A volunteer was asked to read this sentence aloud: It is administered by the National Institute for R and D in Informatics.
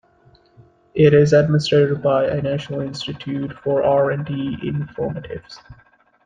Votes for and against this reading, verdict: 0, 2, rejected